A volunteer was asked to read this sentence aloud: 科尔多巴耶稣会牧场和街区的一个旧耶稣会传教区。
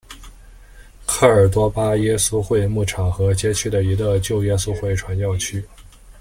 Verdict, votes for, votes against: accepted, 2, 0